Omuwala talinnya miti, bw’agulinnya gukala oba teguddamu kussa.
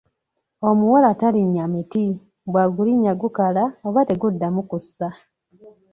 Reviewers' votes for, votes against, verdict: 2, 0, accepted